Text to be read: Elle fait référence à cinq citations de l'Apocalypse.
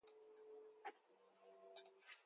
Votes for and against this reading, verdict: 0, 2, rejected